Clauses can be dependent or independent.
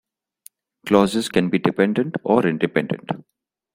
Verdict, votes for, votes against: accepted, 2, 0